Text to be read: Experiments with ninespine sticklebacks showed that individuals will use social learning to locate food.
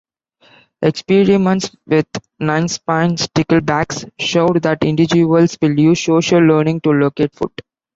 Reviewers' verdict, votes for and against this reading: rejected, 1, 2